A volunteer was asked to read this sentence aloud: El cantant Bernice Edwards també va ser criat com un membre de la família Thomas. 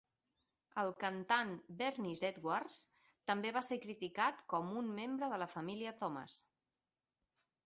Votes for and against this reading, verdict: 2, 6, rejected